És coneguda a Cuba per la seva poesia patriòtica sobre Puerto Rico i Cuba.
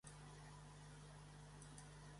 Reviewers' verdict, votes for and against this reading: rejected, 0, 2